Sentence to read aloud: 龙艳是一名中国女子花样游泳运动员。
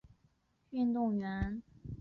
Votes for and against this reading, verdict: 0, 4, rejected